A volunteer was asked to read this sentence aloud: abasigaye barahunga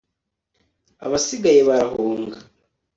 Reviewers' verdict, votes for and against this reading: accepted, 2, 0